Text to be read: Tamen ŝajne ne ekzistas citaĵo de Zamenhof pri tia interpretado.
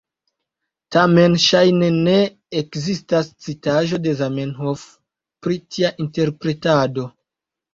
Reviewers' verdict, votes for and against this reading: accepted, 2, 0